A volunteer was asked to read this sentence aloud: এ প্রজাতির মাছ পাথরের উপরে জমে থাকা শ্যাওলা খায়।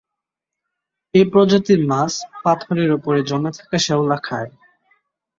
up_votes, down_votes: 2, 0